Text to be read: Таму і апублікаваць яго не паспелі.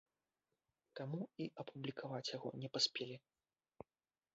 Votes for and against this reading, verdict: 1, 2, rejected